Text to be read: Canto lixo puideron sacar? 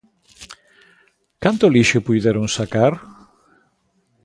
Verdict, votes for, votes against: accepted, 2, 0